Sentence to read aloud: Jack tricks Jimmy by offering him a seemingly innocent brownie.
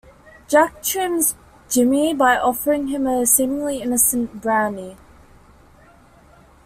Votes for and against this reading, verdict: 0, 2, rejected